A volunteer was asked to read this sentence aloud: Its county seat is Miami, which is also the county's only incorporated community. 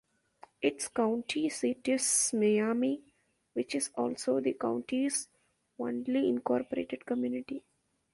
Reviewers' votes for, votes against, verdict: 0, 2, rejected